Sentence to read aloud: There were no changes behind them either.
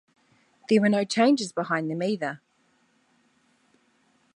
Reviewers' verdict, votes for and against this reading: accepted, 2, 0